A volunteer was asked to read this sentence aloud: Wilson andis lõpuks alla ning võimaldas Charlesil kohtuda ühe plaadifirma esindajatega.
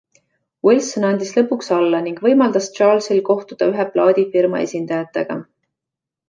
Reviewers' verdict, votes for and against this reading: accepted, 2, 0